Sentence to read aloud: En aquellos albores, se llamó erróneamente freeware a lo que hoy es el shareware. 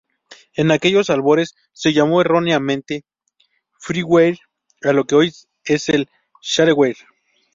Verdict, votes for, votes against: rejected, 0, 2